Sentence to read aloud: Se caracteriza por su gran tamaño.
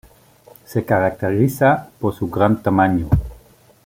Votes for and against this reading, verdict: 2, 1, accepted